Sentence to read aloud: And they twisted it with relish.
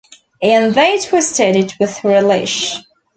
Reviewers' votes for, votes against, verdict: 2, 0, accepted